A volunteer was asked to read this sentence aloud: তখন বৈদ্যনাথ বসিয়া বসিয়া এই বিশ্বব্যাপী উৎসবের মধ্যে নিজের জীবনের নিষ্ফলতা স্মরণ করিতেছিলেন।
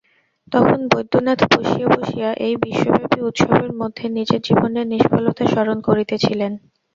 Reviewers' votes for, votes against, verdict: 0, 2, rejected